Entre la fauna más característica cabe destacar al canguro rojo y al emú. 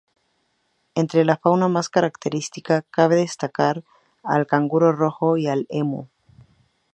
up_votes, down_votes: 0, 2